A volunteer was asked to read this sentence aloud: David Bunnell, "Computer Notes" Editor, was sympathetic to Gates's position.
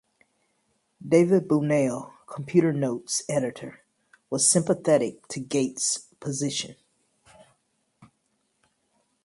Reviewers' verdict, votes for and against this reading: rejected, 0, 2